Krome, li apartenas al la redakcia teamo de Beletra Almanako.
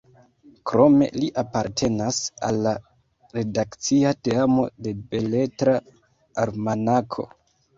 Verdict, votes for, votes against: rejected, 0, 2